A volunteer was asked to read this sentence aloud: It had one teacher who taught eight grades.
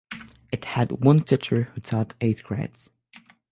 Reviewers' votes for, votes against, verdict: 0, 3, rejected